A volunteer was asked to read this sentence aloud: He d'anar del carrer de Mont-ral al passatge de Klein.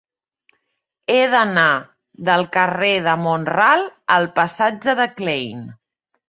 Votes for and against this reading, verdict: 3, 0, accepted